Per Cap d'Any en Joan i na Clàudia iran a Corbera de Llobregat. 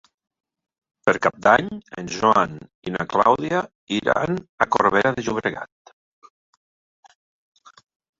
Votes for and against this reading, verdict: 1, 2, rejected